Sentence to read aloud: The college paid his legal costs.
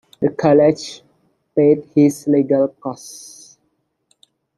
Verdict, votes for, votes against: rejected, 0, 2